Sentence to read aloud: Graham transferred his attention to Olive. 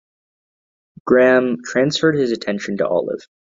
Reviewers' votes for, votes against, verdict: 2, 0, accepted